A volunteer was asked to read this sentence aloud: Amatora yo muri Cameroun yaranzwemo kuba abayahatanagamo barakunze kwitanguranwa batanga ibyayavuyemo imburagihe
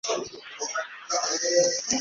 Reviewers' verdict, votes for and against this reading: rejected, 1, 2